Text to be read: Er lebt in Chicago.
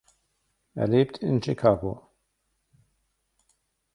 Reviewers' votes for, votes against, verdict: 2, 0, accepted